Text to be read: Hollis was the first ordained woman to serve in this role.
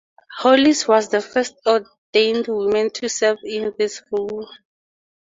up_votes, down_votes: 0, 2